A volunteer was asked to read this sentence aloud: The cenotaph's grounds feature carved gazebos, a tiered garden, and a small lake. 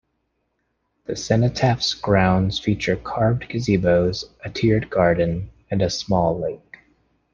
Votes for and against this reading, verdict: 2, 0, accepted